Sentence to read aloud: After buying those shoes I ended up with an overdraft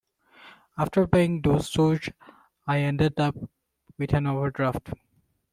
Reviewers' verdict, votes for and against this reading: rejected, 0, 2